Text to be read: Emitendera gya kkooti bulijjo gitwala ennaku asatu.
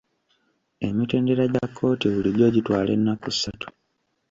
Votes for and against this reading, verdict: 1, 2, rejected